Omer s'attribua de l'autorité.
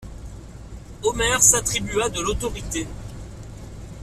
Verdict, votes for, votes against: accepted, 2, 0